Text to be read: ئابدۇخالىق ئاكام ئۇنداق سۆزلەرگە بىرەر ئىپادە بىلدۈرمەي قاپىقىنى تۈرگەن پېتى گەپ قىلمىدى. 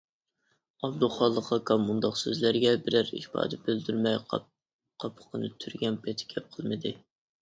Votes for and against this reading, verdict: 1, 2, rejected